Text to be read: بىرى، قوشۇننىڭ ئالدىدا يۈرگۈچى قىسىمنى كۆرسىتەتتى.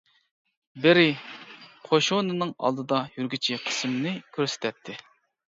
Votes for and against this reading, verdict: 0, 2, rejected